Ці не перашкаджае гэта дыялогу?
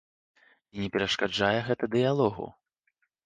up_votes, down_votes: 1, 2